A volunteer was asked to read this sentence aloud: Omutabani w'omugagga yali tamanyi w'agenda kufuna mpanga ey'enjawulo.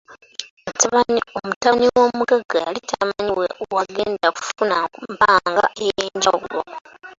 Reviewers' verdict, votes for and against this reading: rejected, 1, 2